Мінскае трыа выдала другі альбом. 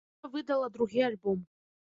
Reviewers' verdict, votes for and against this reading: rejected, 0, 2